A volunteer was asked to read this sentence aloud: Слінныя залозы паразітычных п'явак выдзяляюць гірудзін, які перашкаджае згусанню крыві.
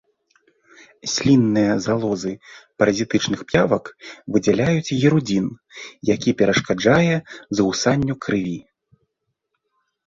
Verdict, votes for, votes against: accepted, 2, 0